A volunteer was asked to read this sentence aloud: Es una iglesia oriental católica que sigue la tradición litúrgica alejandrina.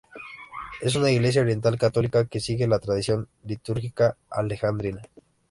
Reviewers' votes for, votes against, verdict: 2, 0, accepted